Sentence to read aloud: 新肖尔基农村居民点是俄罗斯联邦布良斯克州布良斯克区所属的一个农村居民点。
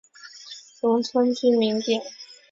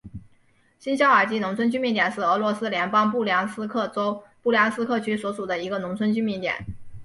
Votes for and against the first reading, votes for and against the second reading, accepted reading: 4, 5, 3, 2, second